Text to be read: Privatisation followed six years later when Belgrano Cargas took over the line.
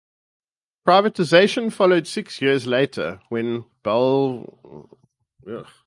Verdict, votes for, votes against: rejected, 0, 4